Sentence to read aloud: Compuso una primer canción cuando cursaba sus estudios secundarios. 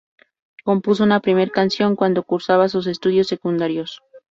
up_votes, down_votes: 4, 0